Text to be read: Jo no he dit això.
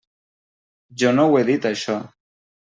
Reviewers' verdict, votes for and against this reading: rejected, 1, 2